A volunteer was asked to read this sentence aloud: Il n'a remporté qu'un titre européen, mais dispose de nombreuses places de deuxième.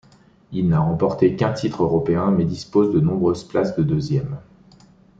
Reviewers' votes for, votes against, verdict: 2, 0, accepted